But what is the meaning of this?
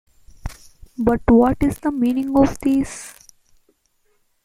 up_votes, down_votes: 2, 1